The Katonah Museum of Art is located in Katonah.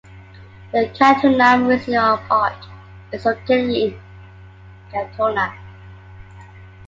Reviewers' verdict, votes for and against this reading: rejected, 1, 2